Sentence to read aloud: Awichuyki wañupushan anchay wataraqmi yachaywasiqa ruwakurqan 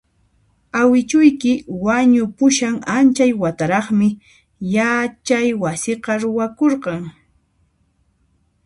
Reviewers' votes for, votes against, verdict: 0, 2, rejected